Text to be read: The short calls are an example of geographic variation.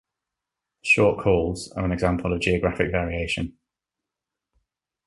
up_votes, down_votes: 0, 2